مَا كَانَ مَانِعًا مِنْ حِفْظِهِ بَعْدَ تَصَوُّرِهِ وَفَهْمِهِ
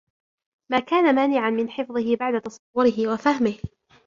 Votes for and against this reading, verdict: 1, 2, rejected